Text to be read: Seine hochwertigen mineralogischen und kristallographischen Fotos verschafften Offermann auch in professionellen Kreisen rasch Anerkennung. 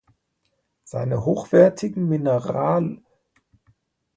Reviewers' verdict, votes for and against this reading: rejected, 0, 2